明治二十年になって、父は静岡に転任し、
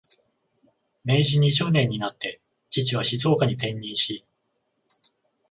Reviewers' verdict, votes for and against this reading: accepted, 14, 0